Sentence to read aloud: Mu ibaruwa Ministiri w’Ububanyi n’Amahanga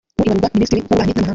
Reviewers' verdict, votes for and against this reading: rejected, 2, 3